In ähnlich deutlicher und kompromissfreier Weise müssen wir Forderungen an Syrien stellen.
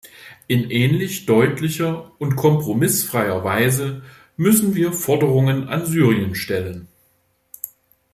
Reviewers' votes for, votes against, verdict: 2, 1, accepted